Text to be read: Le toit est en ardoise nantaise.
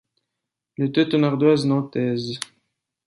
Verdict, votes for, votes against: rejected, 0, 2